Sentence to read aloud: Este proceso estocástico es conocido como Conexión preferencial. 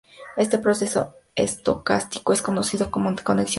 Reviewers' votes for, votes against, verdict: 0, 2, rejected